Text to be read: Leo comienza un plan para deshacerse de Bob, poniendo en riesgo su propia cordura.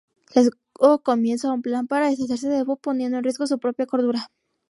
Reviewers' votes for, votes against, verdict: 0, 4, rejected